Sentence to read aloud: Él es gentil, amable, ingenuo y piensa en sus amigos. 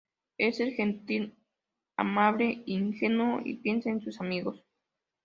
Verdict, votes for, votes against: accepted, 2, 0